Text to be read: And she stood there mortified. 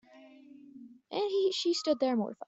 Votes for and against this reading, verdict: 0, 2, rejected